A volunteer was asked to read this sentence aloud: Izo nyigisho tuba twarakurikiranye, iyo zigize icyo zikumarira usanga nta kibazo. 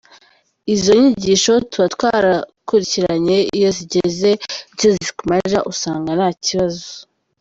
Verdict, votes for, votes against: rejected, 0, 2